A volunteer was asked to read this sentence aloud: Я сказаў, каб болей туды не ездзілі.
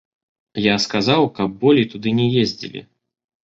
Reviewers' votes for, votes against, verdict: 1, 2, rejected